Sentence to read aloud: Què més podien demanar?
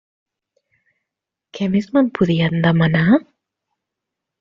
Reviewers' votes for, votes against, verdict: 0, 2, rejected